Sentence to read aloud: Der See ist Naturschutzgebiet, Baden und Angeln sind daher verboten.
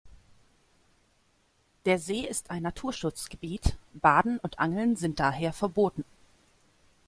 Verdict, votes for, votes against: rejected, 1, 2